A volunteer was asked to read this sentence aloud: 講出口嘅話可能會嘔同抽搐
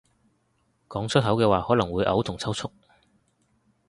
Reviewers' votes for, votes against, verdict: 2, 0, accepted